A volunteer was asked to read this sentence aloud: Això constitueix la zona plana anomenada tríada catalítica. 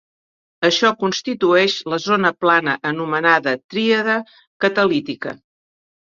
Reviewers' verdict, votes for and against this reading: accepted, 4, 0